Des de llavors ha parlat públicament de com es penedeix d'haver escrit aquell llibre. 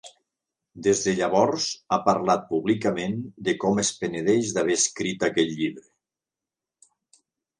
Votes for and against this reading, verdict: 2, 0, accepted